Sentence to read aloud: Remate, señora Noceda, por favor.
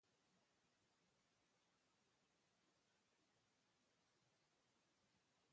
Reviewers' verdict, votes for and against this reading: rejected, 0, 2